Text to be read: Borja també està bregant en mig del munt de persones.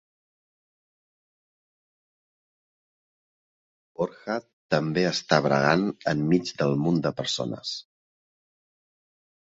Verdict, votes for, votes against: accepted, 2, 1